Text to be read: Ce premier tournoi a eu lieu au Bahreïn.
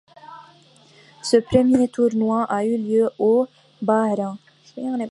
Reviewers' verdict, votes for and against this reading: rejected, 0, 3